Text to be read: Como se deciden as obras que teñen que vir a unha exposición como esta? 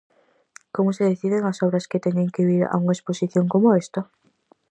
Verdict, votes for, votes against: accepted, 4, 0